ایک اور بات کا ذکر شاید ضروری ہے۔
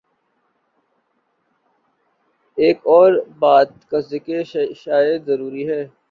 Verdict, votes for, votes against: rejected, 0, 2